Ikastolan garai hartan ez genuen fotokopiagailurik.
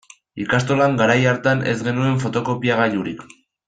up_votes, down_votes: 2, 0